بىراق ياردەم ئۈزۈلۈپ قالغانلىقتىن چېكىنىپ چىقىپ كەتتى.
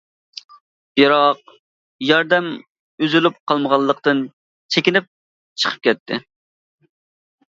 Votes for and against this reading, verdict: 0, 2, rejected